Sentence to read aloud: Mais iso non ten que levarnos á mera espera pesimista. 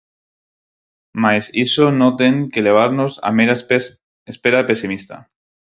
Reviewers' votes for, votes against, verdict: 0, 4, rejected